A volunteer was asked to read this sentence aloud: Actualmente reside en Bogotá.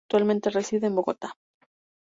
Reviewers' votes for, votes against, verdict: 0, 2, rejected